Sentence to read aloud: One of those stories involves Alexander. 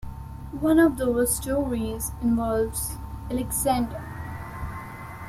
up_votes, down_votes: 2, 0